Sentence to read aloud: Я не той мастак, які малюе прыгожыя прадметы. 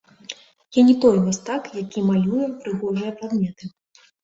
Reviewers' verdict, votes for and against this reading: accepted, 2, 1